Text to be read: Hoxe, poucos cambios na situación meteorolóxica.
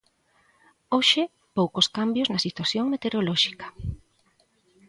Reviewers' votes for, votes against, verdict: 3, 0, accepted